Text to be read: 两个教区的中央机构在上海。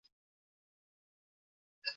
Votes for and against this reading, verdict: 1, 4, rejected